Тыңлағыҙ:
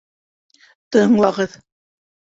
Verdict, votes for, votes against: accepted, 2, 0